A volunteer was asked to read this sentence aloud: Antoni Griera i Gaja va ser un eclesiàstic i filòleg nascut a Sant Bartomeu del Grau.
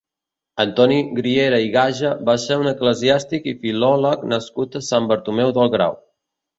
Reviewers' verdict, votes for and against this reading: accepted, 2, 0